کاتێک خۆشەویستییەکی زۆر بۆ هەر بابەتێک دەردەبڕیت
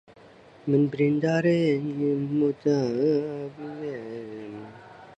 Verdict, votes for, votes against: rejected, 0, 2